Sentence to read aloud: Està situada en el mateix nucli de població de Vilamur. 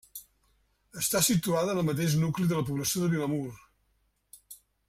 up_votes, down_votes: 0, 2